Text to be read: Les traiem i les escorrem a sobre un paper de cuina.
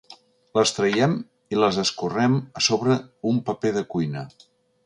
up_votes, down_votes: 2, 0